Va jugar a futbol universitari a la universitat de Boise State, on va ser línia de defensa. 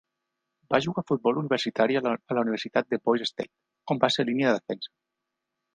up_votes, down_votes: 1, 3